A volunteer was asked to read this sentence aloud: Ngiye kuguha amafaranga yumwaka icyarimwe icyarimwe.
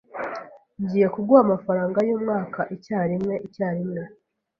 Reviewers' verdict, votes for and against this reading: accepted, 2, 0